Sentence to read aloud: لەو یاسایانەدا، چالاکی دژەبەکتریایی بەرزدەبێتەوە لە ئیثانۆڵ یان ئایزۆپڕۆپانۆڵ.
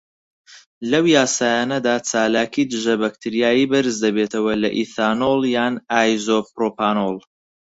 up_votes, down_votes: 4, 0